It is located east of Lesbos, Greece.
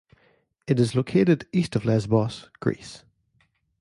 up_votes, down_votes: 2, 0